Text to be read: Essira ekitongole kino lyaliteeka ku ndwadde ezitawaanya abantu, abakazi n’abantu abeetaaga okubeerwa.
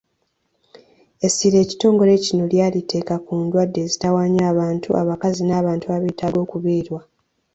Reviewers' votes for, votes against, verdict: 2, 0, accepted